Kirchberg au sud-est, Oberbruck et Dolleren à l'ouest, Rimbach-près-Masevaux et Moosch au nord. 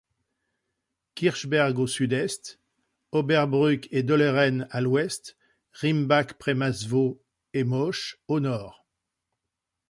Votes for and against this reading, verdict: 1, 2, rejected